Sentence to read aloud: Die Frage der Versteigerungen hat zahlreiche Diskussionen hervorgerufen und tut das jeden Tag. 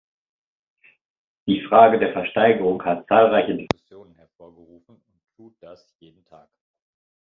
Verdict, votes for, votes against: rejected, 1, 2